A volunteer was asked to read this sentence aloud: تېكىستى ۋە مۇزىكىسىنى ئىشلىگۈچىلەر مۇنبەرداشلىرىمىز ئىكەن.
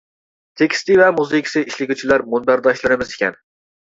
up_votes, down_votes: 1, 2